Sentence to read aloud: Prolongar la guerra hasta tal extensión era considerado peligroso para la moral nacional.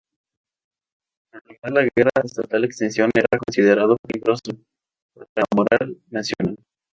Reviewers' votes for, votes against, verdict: 0, 2, rejected